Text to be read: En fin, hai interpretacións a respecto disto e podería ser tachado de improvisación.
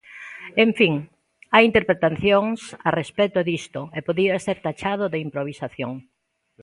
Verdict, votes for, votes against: rejected, 0, 2